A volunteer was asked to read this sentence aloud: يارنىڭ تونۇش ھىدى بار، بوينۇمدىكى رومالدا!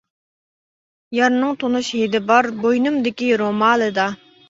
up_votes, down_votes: 2, 0